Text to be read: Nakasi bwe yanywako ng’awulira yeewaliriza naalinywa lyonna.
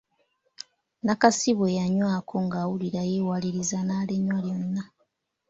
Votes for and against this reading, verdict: 2, 0, accepted